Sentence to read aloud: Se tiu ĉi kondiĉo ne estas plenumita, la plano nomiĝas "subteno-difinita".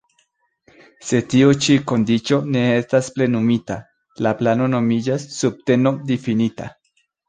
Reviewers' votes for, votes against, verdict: 2, 0, accepted